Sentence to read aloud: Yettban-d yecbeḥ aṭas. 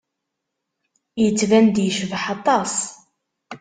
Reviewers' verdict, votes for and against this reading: accepted, 2, 0